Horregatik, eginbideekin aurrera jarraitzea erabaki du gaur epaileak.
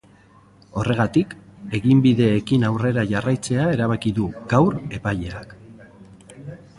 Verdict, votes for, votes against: accepted, 3, 0